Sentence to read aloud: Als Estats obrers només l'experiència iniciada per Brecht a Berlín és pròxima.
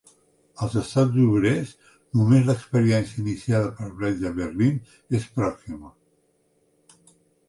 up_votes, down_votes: 2, 1